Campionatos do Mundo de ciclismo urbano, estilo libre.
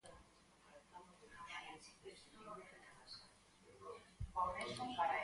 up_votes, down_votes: 0, 6